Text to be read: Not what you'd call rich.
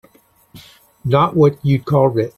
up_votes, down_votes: 0, 2